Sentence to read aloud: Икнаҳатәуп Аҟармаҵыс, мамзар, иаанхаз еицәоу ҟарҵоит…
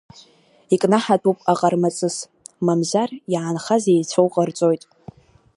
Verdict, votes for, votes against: accepted, 2, 0